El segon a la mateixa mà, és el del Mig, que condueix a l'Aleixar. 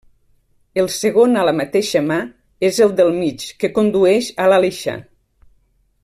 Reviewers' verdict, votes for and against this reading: accepted, 2, 0